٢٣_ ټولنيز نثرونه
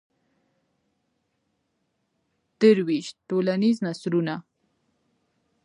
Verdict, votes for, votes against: rejected, 0, 2